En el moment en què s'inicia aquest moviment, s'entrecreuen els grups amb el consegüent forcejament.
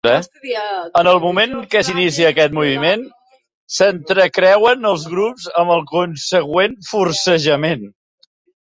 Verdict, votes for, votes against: accepted, 2, 0